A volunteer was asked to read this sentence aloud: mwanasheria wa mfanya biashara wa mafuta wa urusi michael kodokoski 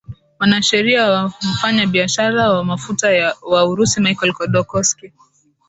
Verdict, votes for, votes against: accepted, 11, 2